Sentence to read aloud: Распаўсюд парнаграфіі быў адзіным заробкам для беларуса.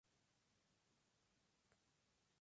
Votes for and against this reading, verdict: 0, 2, rejected